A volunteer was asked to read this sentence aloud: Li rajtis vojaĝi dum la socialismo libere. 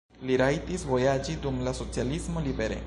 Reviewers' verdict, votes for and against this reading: accepted, 2, 0